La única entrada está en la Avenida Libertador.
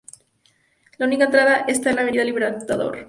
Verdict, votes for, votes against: rejected, 0, 2